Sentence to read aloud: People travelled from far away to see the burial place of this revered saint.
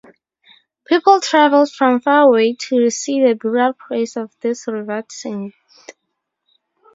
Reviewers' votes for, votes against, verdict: 2, 0, accepted